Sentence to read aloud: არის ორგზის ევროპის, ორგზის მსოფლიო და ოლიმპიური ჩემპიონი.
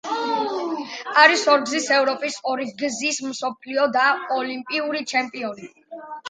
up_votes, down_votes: 2, 0